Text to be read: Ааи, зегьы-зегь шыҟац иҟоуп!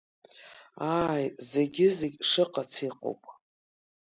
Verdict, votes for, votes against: accepted, 2, 0